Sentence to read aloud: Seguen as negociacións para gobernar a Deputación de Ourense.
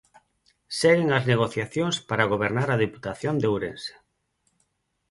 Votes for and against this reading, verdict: 8, 2, accepted